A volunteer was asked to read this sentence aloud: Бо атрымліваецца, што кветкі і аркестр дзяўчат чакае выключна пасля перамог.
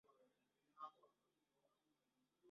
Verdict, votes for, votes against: rejected, 0, 2